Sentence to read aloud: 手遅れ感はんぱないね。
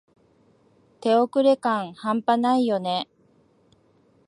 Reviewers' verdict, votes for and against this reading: rejected, 1, 2